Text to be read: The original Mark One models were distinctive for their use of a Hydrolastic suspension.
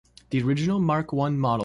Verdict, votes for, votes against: rejected, 0, 2